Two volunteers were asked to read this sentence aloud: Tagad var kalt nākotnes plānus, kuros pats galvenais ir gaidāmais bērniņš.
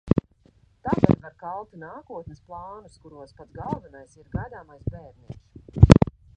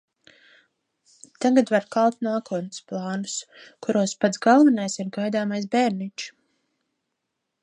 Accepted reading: second